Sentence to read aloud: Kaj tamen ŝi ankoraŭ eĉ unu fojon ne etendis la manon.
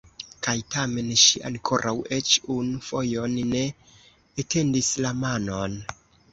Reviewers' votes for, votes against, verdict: 2, 0, accepted